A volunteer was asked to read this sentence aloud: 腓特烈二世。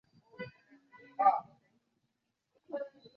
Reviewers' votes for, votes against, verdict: 0, 2, rejected